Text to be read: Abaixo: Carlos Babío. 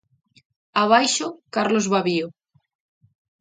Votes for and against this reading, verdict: 2, 0, accepted